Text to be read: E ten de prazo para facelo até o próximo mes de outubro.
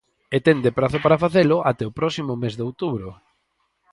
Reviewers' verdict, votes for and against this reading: accepted, 4, 0